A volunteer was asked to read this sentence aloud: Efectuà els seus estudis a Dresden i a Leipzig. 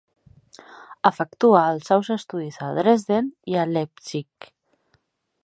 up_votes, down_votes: 1, 2